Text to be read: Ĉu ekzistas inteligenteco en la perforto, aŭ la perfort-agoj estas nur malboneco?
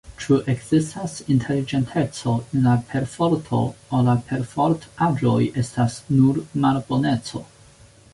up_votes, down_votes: 2, 1